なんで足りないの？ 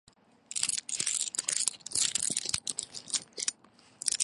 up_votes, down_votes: 0, 2